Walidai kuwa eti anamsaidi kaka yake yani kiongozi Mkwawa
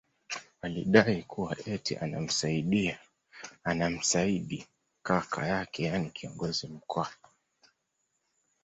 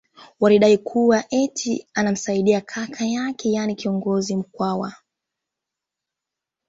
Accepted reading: second